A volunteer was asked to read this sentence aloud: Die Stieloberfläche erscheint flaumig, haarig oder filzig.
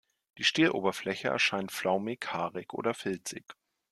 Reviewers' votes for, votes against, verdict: 2, 0, accepted